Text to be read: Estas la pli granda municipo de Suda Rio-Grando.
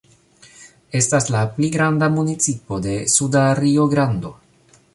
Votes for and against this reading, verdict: 2, 1, accepted